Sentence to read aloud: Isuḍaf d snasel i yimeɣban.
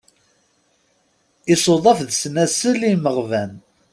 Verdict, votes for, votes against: accepted, 2, 0